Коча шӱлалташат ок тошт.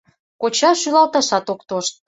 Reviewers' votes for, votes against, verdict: 2, 0, accepted